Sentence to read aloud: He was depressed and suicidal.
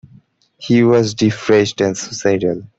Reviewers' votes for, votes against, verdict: 0, 2, rejected